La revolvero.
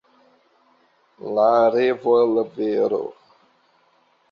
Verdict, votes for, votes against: rejected, 2, 3